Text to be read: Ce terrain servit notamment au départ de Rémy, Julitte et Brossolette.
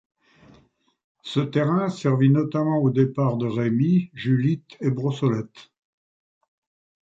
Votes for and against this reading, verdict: 2, 0, accepted